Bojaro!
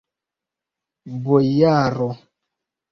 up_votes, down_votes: 0, 2